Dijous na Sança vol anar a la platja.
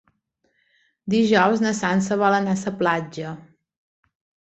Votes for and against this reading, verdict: 0, 2, rejected